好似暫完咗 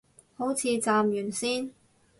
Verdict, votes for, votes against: rejected, 2, 4